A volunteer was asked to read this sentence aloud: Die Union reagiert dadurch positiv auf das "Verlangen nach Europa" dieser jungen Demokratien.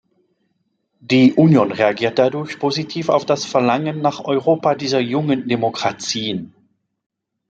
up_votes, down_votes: 1, 2